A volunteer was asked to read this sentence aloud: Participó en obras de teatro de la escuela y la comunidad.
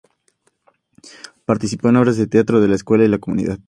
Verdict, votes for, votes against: accepted, 2, 0